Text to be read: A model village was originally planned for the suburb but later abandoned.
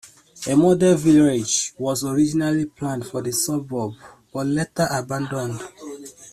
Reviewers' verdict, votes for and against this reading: accepted, 2, 1